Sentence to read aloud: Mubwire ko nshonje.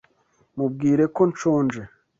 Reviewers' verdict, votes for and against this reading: accepted, 2, 0